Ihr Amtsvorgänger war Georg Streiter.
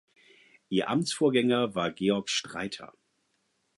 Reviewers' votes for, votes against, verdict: 4, 0, accepted